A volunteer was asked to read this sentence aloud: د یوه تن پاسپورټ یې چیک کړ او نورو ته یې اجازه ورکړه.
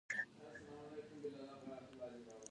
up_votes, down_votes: 1, 2